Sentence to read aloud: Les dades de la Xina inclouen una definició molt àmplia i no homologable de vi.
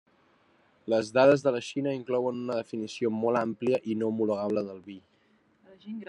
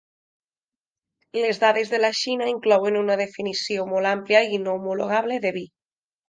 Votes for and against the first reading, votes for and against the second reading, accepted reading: 1, 2, 4, 0, second